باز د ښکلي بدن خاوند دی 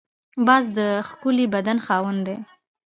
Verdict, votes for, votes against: accepted, 2, 0